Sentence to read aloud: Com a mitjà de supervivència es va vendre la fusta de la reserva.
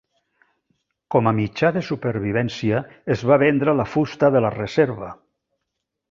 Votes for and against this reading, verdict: 3, 0, accepted